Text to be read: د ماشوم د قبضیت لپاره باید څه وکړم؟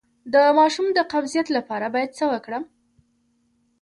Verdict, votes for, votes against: accepted, 2, 0